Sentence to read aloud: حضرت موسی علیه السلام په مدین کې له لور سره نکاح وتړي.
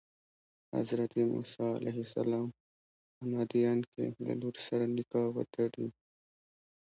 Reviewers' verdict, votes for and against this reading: rejected, 0, 2